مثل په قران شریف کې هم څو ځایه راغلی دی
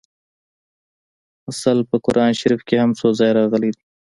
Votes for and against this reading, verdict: 0, 2, rejected